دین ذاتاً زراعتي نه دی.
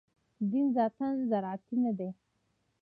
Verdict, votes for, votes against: accepted, 2, 0